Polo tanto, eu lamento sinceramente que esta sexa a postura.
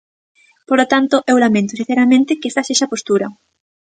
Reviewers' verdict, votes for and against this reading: accepted, 3, 0